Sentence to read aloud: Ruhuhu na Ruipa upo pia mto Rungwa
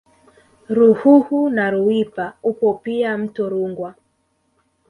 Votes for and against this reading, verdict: 2, 0, accepted